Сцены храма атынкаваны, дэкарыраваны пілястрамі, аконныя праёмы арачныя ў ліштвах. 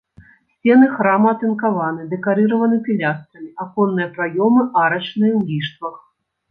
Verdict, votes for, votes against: accepted, 2, 0